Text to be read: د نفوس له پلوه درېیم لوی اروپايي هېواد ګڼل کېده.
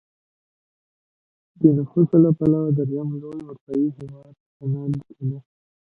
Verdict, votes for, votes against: rejected, 1, 2